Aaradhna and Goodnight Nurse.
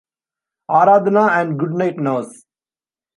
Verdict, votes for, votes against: accepted, 2, 0